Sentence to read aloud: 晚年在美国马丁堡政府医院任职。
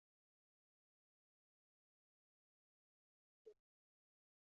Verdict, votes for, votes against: rejected, 1, 2